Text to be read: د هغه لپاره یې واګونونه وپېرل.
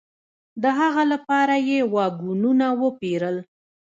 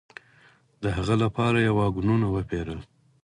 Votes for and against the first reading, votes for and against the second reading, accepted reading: 1, 2, 4, 2, second